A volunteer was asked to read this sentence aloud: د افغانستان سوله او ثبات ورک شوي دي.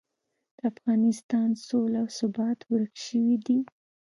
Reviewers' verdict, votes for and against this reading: accepted, 2, 0